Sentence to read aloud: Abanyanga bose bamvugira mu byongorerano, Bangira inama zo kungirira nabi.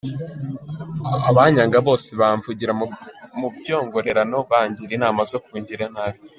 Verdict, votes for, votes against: rejected, 1, 2